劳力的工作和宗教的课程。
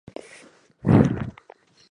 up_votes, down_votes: 2, 5